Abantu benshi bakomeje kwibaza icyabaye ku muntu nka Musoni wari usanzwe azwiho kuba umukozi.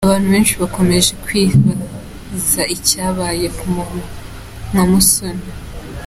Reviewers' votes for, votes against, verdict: 0, 2, rejected